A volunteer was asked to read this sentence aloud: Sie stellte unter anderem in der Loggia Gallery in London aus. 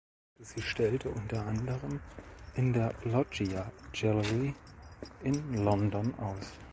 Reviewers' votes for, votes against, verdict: 1, 2, rejected